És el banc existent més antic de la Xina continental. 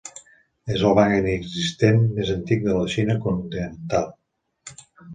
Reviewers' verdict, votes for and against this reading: rejected, 0, 2